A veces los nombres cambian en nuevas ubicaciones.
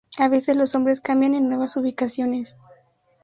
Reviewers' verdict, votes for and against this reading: accepted, 2, 0